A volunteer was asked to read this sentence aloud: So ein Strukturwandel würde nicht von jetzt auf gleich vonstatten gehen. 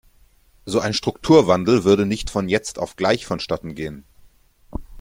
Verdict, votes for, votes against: accepted, 2, 0